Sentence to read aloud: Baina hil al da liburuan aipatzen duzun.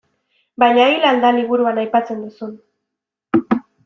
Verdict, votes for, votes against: accepted, 2, 0